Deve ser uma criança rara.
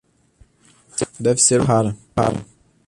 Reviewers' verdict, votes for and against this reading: rejected, 0, 2